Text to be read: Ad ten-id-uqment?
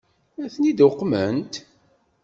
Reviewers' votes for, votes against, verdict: 2, 0, accepted